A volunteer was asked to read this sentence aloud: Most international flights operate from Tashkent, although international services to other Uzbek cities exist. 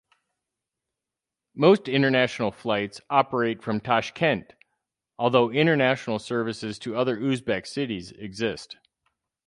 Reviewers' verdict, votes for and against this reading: accepted, 4, 0